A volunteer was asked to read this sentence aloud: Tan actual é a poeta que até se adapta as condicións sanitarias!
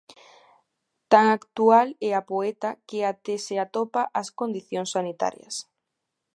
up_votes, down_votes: 0, 2